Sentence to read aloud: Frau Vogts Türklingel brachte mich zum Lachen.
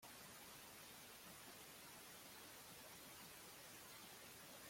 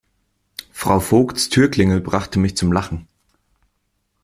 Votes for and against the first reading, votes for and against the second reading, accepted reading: 0, 2, 2, 0, second